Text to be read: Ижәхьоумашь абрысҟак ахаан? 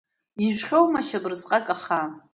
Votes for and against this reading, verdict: 2, 1, accepted